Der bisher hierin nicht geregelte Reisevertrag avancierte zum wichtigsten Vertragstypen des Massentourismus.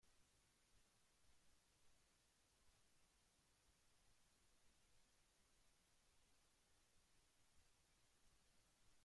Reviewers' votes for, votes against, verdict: 0, 2, rejected